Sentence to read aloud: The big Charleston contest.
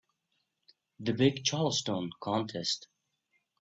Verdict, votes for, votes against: accepted, 2, 0